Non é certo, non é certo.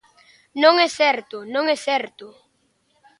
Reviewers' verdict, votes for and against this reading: accepted, 2, 0